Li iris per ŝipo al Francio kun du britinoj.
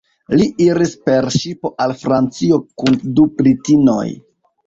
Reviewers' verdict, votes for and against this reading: accepted, 2, 0